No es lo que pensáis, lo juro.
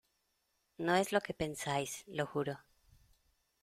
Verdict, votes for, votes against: accepted, 2, 0